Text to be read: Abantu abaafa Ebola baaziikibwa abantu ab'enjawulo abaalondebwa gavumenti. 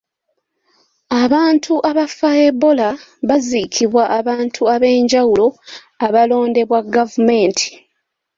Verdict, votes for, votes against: rejected, 0, 2